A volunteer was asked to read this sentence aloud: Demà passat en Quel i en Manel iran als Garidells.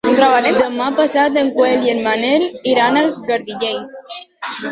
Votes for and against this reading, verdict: 0, 2, rejected